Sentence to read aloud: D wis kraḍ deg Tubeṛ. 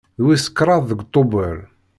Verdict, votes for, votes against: accepted, 2, 0